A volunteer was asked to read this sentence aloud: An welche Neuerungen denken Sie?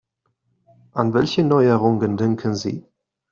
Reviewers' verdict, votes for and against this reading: accepted, 2, 1